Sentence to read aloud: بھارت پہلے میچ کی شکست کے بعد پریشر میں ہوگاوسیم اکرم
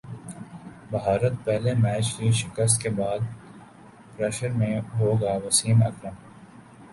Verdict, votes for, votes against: rejected, 2, 3